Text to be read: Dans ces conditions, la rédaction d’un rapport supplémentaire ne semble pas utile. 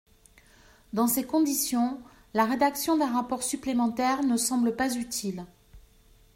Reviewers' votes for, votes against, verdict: 2, 0, accepted